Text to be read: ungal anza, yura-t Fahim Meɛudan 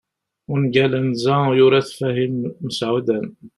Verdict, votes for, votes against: rejected, 0, 2